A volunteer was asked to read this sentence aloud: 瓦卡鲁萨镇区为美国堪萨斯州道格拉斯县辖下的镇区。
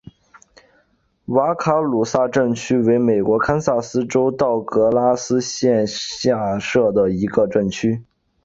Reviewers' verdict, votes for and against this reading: accepted, 2, 1